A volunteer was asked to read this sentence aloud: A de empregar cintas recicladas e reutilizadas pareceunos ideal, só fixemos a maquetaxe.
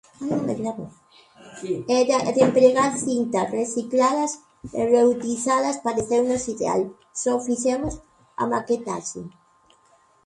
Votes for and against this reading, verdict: 0, 2, rejected